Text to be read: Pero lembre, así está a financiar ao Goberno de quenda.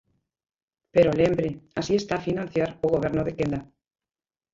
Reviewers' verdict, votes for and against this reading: rejected, 0, 2